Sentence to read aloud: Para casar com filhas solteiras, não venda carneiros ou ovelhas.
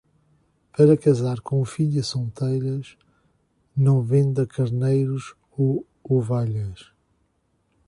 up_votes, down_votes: 2, 1